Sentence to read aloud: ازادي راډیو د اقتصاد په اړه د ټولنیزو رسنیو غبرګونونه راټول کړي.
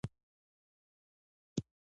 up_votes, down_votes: 0, 2